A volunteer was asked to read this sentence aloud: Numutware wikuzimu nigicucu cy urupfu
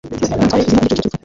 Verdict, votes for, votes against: rejected, 0, 2